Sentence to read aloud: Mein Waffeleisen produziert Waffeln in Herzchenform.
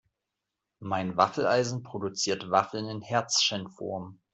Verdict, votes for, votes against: rejected, 1, 2